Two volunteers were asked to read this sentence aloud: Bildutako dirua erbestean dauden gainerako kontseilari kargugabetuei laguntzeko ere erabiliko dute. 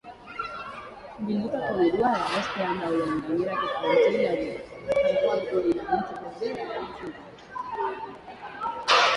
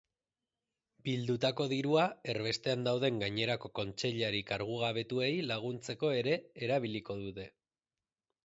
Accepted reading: second